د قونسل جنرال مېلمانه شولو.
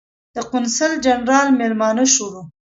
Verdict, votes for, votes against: rejected, 0, 2